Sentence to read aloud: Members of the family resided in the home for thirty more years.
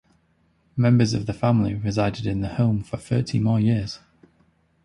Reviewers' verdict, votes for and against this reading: accepted, 2, 0